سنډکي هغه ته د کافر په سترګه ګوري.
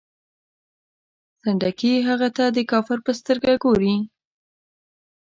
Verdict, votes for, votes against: accepted, 2, 0